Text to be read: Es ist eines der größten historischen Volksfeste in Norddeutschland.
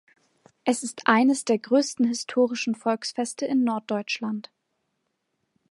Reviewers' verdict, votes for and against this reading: accepted, 2, 0